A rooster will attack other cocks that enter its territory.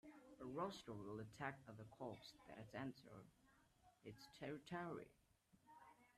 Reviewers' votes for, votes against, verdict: 0, 2, rejected